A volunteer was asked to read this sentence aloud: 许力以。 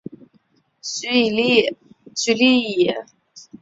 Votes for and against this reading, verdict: 0, 2, rejected